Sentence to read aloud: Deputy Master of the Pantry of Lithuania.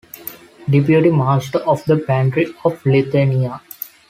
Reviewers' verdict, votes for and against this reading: accepted, 2, 0